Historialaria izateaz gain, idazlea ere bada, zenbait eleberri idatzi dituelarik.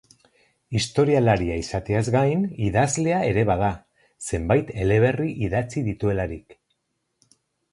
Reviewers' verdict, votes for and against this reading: accepted, 2, 0